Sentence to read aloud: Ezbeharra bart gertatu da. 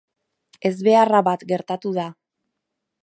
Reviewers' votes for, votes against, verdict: 0, 2, rejected